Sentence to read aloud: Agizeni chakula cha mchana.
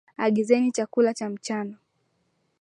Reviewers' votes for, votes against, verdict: 4, 0, accepted